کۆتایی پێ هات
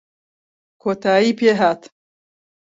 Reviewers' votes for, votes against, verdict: 2, 0, accepted